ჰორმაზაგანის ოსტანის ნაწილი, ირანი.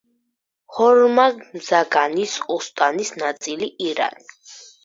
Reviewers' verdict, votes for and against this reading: rejected, 2, 4